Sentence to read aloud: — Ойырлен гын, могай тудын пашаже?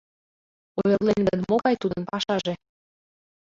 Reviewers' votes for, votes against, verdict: 0, 2, rejected